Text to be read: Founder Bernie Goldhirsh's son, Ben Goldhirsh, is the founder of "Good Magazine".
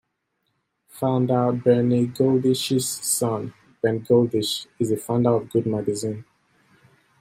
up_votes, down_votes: 0, 2